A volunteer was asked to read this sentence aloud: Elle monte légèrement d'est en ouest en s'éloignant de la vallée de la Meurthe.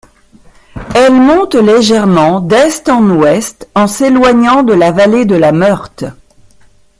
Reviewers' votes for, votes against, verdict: 1, 2, rejected